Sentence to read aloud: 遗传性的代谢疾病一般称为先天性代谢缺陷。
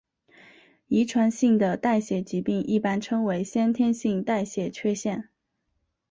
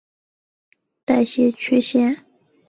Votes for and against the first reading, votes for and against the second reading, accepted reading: 3, 1, 0, 2, first